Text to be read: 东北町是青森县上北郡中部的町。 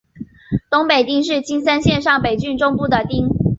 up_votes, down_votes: 2, 0